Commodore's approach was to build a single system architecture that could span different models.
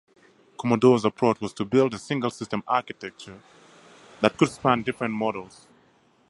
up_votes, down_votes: 2, 2